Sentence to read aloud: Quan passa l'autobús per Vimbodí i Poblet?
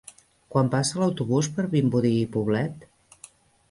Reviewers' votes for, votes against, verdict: 3, 0, accepted